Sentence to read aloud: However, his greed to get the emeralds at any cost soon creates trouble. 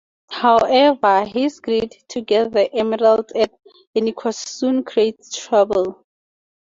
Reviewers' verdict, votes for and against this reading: rejected, 2, 2